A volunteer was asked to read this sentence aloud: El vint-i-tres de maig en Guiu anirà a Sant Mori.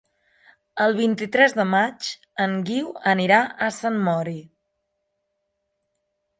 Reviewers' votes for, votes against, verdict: 3, 0, accepted